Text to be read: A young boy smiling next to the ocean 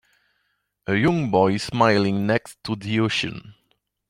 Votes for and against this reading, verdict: 2, 0, accepted